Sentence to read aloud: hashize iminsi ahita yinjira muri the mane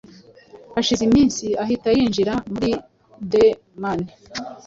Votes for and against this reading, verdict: 2, 0, accepted